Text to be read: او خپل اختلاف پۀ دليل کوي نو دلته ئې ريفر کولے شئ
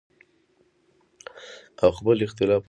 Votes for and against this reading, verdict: 0, 2, rejected